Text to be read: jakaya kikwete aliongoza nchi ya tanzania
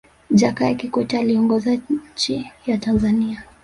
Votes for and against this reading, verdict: 1, 2, rejected